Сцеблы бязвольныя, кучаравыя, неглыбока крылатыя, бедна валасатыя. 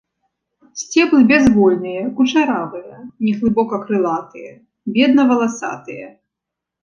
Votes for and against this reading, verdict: 2, 0, accepted